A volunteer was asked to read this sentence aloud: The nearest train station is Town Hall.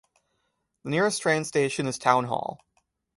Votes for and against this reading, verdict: 1, 2, rejected